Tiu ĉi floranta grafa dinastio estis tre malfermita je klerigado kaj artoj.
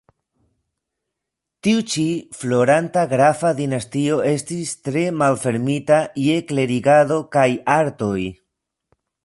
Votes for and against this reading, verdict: 0, 2, rejected